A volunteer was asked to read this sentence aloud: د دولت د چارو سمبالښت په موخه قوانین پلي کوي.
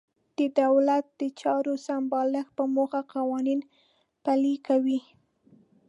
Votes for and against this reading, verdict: 3, 0, accepted